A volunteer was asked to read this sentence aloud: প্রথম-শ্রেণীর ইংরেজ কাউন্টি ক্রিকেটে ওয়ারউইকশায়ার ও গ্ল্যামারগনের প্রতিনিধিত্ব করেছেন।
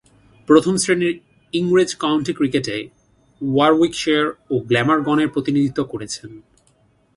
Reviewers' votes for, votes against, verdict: 2, 0, accepted